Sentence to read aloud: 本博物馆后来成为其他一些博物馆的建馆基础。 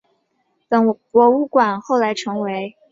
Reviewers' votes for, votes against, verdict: 0, 3, rejected